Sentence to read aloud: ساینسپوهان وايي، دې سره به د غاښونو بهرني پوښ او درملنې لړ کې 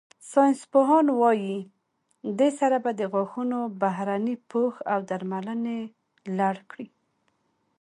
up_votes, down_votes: 2, 0